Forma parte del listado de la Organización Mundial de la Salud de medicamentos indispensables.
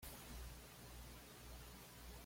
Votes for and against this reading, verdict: 0, 2, rejected